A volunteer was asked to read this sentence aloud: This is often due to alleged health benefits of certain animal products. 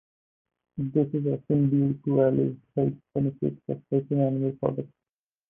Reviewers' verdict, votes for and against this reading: rejected, 0, 4